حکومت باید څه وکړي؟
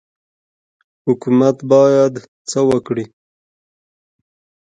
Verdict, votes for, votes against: accepted, 2, 1